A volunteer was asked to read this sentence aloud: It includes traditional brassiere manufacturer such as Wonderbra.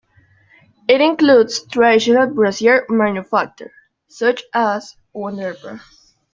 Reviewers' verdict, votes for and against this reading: rejected, 1, 2